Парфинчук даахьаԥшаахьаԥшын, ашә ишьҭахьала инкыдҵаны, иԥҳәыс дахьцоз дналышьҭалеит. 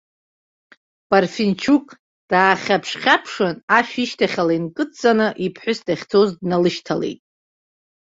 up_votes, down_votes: 2, 1